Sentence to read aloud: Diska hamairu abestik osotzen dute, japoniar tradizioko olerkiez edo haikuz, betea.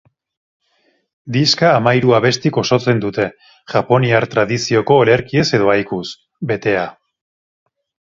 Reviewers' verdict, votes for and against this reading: accepted, 2, 0